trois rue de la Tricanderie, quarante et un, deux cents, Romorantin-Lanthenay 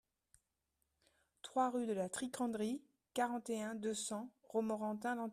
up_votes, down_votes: 0, 2